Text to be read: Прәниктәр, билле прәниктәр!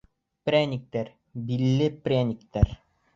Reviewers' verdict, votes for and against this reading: accepted, 2, 0